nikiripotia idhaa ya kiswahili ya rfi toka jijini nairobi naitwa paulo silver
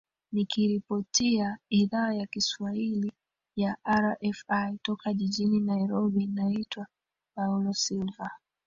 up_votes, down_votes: 1, 2